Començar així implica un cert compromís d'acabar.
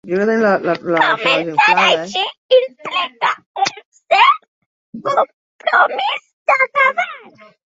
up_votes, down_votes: 0, 3